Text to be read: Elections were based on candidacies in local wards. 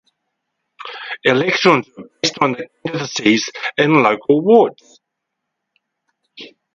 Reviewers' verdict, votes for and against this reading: rejected, 0, 4